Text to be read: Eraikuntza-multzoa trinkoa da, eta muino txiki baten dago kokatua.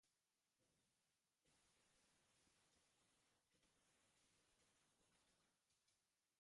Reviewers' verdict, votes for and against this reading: rejected, 0, 2